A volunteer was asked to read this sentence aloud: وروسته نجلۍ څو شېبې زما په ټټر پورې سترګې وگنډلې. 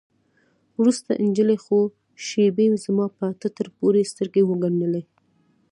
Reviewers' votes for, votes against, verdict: 2, 0, accepted